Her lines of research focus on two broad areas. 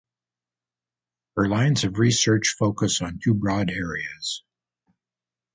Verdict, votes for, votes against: accepted, 2, 0